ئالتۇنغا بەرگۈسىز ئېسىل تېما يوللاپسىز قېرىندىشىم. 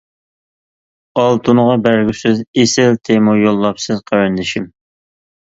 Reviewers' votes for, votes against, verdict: 2, 0, accepted